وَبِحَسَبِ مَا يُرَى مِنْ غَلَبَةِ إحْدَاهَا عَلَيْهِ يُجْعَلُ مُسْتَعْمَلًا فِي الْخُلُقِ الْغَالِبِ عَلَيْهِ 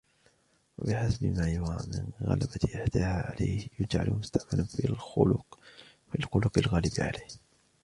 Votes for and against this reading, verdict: 0, 2, rejected